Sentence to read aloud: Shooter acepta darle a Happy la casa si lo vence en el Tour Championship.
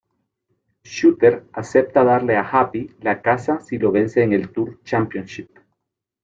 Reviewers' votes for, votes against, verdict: 3, 1, accepted